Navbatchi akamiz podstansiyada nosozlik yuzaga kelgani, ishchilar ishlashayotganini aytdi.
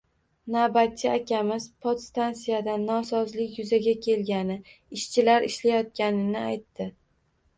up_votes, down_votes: 2, 0